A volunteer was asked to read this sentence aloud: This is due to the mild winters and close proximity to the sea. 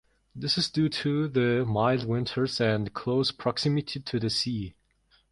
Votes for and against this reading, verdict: 2, 0, accepted